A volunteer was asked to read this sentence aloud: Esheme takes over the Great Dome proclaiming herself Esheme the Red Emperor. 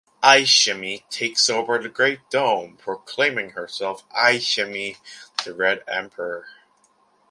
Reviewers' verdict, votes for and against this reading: rejected, 1, 2